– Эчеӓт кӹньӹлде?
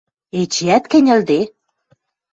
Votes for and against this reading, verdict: 2, 0, accepted